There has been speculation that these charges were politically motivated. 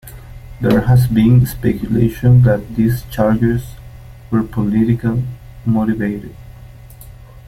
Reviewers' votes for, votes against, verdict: 0, 2, rejected